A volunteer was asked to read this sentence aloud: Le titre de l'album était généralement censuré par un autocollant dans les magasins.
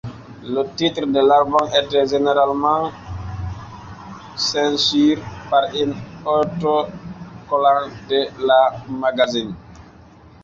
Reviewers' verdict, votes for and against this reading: rejected, 1, 2